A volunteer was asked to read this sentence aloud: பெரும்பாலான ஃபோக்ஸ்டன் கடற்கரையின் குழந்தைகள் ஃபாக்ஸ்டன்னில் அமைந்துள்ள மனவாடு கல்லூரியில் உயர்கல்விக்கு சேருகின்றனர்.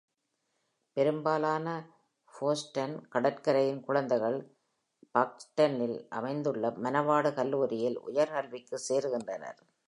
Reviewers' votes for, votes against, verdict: 1, 2, rejected